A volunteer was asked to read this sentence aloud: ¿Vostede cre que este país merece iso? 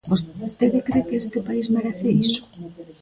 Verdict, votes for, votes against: rejected, 1, 2